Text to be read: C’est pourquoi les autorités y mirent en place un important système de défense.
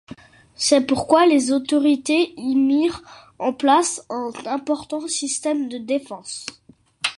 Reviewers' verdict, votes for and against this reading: accepted, 2, 1